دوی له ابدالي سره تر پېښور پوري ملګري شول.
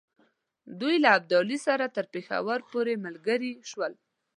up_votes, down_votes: 2, 0